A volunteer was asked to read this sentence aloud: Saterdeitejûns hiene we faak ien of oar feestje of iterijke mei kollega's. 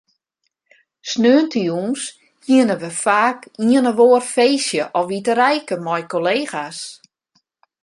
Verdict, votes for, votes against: rejected, 0, 2